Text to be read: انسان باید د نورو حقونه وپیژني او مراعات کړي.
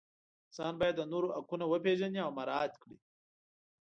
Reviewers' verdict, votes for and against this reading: rejected, 1, 2